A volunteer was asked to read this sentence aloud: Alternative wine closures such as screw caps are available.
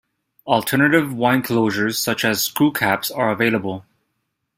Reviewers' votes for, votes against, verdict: 2, 0, accepted